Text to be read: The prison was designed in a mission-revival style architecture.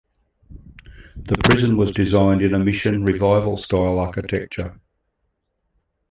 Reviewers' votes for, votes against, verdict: 2, 1, accepted